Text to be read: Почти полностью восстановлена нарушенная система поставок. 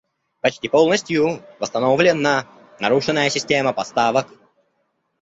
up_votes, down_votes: 0, 2